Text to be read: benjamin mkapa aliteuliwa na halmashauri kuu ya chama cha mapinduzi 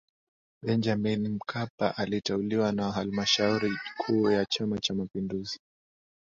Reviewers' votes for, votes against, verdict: 13, 0, accepted